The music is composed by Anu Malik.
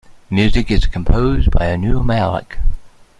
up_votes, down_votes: 1, 2